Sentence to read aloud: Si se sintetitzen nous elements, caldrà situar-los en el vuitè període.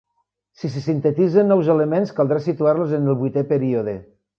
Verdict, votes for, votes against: accepted, 3, 0